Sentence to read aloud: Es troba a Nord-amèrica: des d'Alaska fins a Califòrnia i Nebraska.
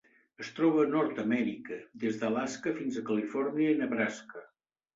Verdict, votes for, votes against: accepted, 2, 0